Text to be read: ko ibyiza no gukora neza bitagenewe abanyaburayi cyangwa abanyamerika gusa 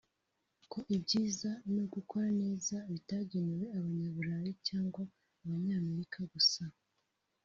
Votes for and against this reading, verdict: 0, 2, rejected